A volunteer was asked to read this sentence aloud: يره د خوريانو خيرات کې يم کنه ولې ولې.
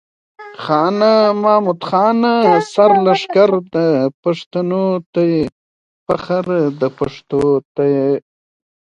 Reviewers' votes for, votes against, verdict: 2, 1, accepted